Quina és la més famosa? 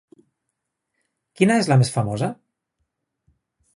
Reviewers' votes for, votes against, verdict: 2, 0, accepted